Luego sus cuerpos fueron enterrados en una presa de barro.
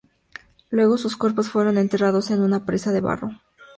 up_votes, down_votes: 2, 0